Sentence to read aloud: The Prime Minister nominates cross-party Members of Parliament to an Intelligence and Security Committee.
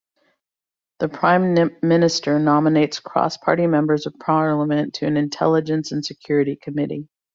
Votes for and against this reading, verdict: 1, 2, rejected